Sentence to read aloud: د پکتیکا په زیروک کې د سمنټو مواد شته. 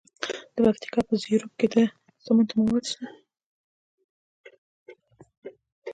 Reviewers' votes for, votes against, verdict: 1, 2, rejected